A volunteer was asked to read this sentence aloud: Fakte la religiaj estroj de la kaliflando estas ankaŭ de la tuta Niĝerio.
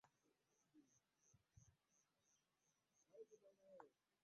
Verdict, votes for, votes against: rejected, 1, 2